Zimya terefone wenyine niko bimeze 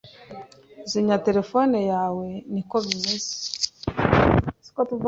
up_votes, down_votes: 0, 2